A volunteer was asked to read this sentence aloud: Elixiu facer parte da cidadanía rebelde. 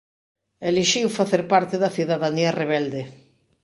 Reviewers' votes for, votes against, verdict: 2, 0, accepted